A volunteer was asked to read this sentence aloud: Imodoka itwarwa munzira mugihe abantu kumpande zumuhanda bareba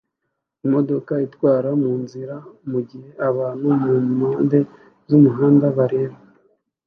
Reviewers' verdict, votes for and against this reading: rejected, 1, 2